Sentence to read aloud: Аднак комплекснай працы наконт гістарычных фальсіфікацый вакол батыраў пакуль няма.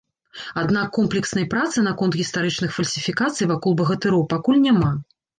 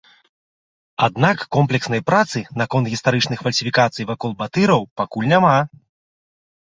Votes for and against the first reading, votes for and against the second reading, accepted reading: 0, 3, 2, 0, second